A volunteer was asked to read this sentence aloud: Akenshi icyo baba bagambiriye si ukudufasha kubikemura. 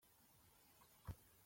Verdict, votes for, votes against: rejected, 0, 2